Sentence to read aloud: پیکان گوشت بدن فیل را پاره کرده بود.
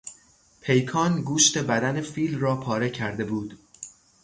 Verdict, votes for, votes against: accepted, 3, 0